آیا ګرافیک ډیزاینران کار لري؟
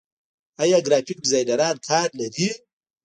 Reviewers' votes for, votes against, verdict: 0, 2, rejected